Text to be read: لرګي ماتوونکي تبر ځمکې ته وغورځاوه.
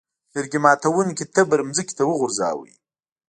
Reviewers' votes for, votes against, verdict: 2, 0, accepted